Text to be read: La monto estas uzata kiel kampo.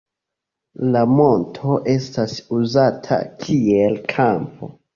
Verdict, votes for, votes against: accepted, 2, 0